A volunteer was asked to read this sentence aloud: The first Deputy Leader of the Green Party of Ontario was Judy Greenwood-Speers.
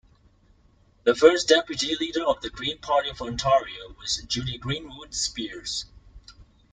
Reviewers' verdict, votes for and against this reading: rejected, 0, 2